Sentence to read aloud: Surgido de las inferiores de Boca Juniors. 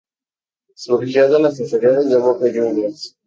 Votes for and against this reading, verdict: 0, 2, rejected